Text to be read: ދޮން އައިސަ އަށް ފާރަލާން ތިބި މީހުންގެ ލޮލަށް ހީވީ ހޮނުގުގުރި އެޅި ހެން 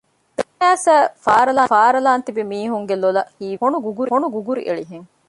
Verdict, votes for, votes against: rejected, 0, 2